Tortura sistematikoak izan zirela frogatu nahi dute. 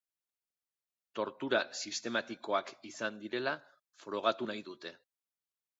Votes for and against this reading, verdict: 2, 0, accepted